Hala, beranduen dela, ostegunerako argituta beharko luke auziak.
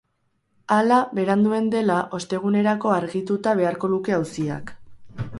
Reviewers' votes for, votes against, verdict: 4, 0, accepted